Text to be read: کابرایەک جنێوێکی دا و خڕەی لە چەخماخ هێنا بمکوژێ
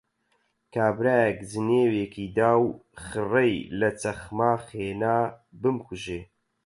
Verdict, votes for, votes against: accepted, 8, 0